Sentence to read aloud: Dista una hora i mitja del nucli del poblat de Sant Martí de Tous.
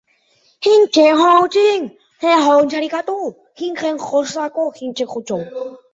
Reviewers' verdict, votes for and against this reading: rejected, 0, 2